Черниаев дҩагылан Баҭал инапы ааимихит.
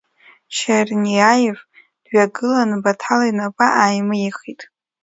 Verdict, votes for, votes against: rejected, 0, 2